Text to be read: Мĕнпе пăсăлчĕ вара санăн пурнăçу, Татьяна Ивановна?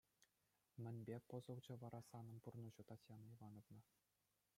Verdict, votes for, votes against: rejected, 1, 2